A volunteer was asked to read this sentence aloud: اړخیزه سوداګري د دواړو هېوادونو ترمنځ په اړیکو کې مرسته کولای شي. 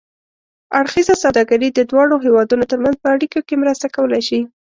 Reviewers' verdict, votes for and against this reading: accepted, 2, 0